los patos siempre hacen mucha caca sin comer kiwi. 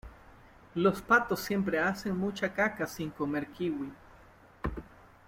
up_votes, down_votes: 2, 0